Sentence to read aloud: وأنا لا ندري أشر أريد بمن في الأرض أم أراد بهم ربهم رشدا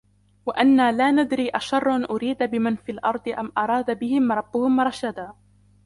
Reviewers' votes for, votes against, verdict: 2, 1, accepted